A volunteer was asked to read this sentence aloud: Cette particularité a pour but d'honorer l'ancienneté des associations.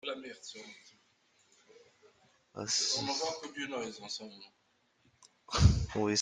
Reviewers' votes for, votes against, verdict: 0, 2, rejected